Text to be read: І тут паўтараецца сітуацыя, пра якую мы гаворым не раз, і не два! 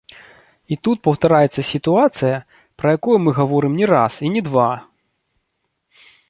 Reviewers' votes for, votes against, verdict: 1, 2, rejected